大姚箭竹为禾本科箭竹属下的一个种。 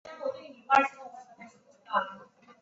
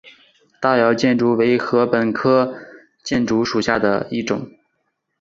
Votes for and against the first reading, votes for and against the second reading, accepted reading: 2, 1, 1, 3, first